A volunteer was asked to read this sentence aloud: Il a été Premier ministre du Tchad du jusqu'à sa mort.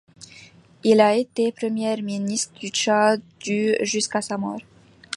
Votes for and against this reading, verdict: 2, 0, accepted